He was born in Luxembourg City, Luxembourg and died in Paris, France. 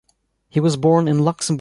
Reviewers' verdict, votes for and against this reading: rejected, 0, 2